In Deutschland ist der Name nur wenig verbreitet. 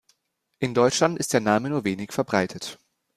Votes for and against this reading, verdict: 2, 0, accepted